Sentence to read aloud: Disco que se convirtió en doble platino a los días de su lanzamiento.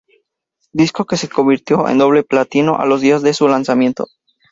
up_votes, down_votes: 2, 0